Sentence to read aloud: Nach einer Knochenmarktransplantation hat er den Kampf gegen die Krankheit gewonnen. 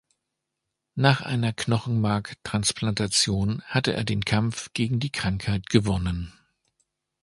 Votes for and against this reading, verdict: 0, 2, rejected